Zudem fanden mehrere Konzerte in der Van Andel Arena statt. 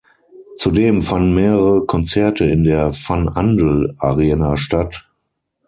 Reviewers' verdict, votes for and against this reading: rejected, 3, 6